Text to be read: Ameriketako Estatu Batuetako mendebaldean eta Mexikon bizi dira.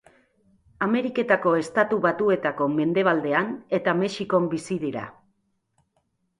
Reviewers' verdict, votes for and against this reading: accepted, 3, 0